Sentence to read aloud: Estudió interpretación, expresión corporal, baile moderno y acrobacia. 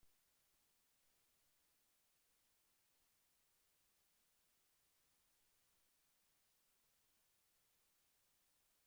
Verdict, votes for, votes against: rejected, 0, 2